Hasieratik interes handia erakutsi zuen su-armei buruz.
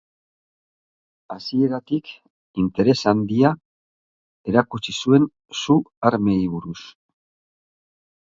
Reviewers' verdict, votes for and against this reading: accepted, 2, 0